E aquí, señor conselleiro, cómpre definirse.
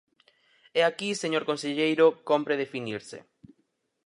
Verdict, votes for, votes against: accepted, 4, 0